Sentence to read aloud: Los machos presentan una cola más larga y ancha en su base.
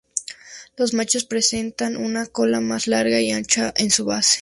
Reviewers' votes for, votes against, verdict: 2, 0, accepted